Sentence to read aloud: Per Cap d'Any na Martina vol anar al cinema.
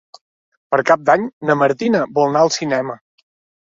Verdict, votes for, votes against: rejected, 1, 2